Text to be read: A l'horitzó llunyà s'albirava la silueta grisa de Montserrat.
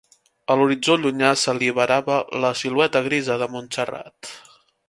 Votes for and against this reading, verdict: 2, 3, rejected